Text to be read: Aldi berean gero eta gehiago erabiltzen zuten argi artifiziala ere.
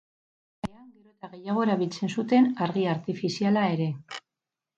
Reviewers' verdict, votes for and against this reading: rejected, 0, 4